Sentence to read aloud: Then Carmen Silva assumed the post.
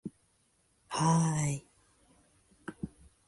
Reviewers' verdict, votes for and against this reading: rejected, 0, 2